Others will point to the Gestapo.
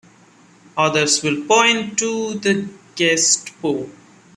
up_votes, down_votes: 0, 3